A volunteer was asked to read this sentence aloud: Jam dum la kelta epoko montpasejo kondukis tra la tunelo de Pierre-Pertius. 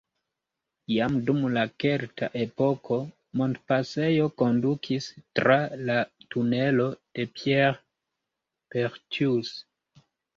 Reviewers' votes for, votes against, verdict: 1, 2, rejected